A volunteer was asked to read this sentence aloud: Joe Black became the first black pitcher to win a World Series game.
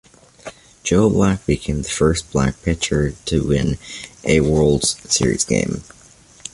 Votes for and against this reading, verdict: 2, 0, accepted